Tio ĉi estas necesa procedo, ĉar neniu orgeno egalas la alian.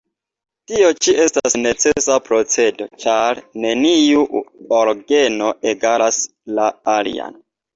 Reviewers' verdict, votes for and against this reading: accepted, 2, 0